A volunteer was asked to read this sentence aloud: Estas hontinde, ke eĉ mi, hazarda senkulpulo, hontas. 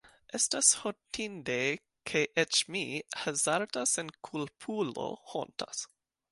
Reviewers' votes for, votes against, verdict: 2, 0, accepted